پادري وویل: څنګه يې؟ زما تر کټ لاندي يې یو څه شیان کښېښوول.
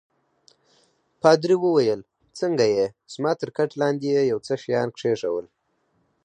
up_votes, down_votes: 4, 0